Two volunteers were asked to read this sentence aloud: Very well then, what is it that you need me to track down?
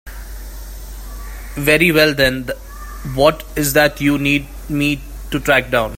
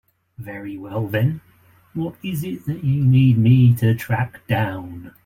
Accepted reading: second